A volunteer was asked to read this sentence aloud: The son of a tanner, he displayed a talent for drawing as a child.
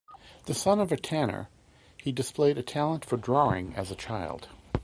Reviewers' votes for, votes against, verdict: 2, 0, accepted